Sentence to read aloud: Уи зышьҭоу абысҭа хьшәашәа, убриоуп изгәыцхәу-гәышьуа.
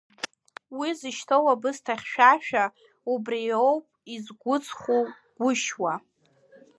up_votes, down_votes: 0, 2